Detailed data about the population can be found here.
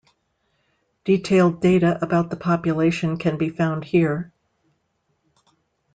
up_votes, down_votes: 2, 0